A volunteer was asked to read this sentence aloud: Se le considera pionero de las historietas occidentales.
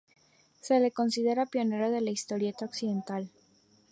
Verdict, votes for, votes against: rejected, 0, 2